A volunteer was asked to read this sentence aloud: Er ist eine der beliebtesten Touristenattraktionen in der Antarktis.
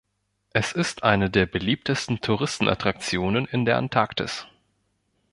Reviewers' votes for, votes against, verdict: 1, 2, rejected